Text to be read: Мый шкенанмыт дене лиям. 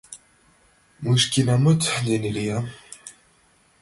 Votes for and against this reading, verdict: 0, 2, rejected